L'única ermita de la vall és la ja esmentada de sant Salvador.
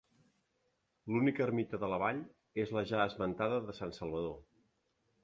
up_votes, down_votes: 3, 0